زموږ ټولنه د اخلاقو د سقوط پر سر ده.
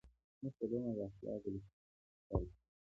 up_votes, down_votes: 1, 2